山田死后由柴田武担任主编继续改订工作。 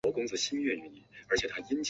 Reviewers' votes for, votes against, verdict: 0, 4, rejected